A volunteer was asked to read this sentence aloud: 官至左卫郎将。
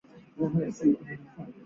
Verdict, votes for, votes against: rejected, 0, 3